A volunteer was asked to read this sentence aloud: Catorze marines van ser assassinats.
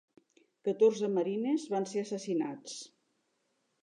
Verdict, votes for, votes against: accepted, 3, 0